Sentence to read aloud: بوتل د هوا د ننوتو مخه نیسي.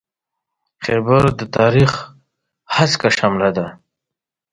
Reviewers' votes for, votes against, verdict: 0, 2, rejected